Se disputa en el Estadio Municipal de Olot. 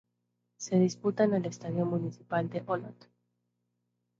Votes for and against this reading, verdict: 0, 2, rejected